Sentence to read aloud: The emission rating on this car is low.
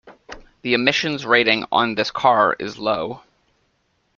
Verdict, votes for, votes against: rejected, 0, 2